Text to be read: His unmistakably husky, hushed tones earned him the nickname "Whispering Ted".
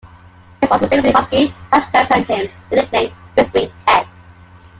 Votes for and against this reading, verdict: 1, 2, rejected